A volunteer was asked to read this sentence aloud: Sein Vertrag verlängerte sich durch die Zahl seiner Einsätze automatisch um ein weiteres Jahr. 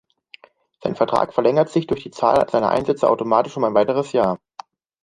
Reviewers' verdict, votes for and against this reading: rejected, 1, 2